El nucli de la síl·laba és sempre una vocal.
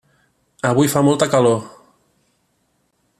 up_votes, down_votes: 0, 2